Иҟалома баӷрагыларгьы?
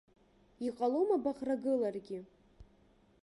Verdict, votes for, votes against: accepted, 2, 0